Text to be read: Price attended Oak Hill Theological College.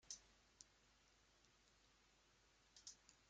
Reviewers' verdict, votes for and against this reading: rejected, 0, 2